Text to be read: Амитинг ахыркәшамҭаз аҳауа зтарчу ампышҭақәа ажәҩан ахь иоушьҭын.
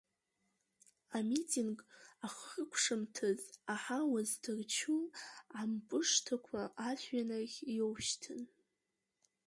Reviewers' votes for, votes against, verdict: 1, 2, rejected